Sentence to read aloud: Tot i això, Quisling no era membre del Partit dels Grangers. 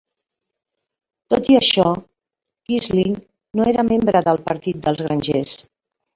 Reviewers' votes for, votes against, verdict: 2, 0, accepted